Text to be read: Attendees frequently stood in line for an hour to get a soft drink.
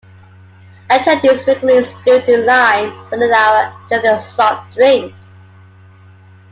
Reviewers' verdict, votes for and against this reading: accepted, 2, 1